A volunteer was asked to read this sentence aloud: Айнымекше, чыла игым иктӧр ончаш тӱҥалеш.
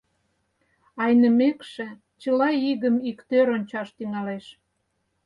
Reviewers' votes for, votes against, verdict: 4, 0, accepted